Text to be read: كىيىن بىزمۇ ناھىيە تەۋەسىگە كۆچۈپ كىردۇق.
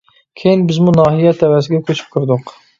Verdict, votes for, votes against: accepted, 2, 0